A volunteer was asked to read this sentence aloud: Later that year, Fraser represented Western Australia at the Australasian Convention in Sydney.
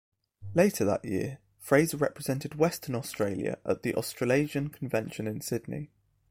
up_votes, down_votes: 1, 2